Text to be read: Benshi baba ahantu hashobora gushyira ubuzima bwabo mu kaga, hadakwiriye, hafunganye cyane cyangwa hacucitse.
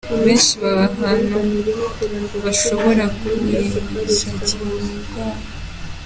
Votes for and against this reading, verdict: 0, 2, rejected